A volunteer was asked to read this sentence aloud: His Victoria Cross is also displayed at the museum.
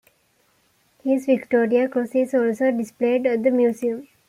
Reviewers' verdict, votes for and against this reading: accepted, 2, 0